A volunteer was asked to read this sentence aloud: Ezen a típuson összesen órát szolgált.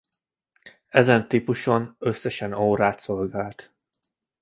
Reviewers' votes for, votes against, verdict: 2, 0, accepted